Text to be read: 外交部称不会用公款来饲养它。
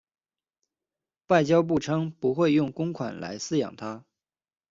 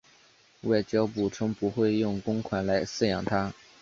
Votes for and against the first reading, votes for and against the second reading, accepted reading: 2, 0, 1, 2, first